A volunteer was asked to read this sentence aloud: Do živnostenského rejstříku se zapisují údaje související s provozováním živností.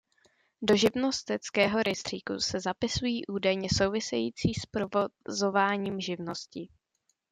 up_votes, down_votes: 1, 2